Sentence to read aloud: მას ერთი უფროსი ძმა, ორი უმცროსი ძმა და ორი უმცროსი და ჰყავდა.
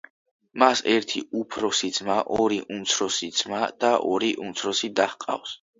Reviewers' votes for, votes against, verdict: 1, 2, rejected